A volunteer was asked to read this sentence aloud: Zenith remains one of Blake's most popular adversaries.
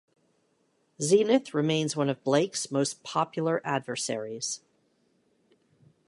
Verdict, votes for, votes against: accepted, 2, 0